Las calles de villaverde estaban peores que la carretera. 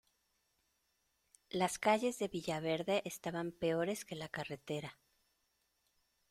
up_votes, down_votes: 2, 0